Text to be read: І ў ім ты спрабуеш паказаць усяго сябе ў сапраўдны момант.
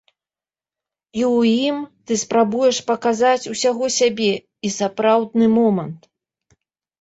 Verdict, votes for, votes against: rejected, 0, 2